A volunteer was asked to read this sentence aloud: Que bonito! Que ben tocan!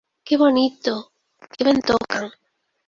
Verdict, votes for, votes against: rejected, 0, 2